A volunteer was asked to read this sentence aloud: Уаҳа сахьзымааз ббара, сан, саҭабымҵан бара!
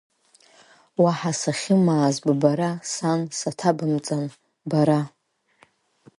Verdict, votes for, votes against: accepted, 5, 3